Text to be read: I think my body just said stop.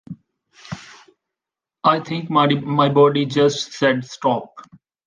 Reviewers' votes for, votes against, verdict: 0, 2, rejected